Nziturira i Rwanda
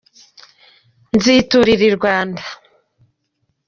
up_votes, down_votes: 2, 0